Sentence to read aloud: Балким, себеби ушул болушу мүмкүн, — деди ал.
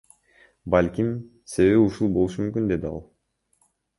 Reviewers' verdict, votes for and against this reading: accepted, 2, 1